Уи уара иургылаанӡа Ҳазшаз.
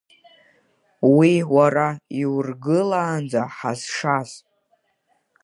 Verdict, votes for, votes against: accepted, 2, 0